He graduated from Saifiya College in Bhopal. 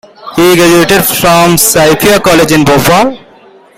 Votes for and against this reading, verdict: 2, 1, accepted